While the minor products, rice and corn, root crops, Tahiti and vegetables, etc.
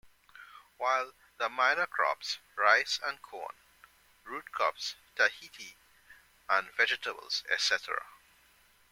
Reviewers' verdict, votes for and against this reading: accepted, 2, 0